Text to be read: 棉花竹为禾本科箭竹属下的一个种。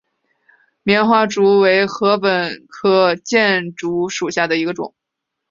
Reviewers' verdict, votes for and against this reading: accepted, 2, 0